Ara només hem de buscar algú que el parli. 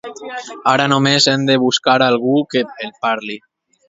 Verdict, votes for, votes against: accepted, 2, 1